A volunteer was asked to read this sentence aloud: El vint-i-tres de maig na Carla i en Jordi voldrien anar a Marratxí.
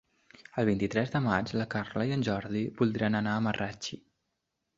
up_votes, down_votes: 1, 3